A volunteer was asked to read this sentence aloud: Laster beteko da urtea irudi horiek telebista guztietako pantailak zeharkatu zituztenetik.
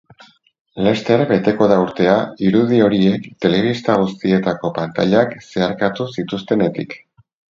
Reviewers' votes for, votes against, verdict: 2, 2, rejected